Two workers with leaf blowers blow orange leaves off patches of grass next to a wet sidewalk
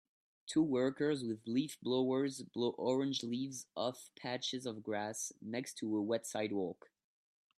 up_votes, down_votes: 2, 0